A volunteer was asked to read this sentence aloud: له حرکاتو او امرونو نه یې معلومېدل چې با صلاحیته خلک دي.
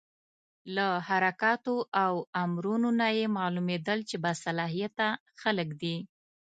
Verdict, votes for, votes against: accepted, 2, 0